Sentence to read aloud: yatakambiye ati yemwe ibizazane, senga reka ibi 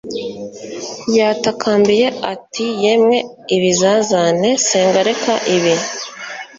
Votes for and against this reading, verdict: 3, 0, accepted